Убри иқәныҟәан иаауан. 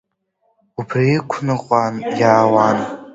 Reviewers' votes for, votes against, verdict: 2, 0, accepted